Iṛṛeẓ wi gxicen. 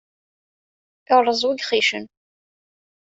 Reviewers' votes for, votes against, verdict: 2, 1, accepted